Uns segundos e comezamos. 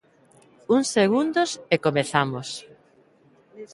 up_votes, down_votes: 3, 0